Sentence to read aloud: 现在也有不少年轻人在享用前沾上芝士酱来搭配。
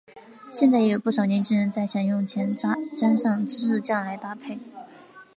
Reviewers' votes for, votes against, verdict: 4, 0, accepted